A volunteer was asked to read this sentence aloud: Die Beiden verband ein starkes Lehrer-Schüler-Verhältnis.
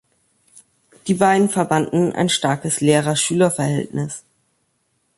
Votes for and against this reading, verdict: 0, 2, rejected